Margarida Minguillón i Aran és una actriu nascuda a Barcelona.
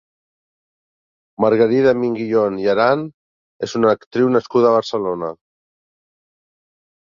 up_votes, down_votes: 3, 0